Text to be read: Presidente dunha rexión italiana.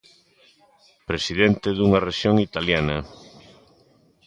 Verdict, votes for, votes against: accepted, 2, 0